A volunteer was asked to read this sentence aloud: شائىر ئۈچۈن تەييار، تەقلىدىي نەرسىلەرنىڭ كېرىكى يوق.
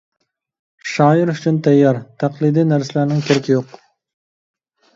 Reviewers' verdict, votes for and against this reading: accepted, 2, 0